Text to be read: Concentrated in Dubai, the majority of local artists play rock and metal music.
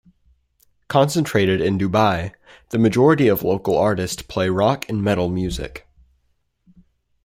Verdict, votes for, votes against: rejected, 1, 2